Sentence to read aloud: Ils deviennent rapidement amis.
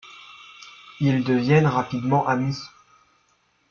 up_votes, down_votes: 1, 2